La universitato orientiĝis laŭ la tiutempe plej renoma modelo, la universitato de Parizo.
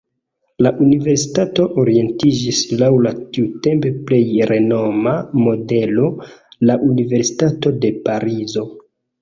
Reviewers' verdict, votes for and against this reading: accepted, 2, 0